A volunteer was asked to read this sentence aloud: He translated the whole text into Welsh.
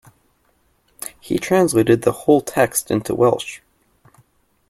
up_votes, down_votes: 2, 0